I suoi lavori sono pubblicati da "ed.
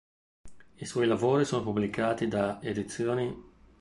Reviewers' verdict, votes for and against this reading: rejected, 1, 2